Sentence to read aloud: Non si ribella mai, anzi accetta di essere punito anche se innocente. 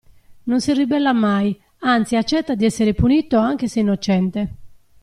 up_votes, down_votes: 2, 1